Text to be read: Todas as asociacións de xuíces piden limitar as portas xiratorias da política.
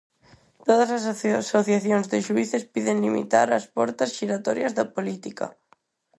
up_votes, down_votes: 0, 4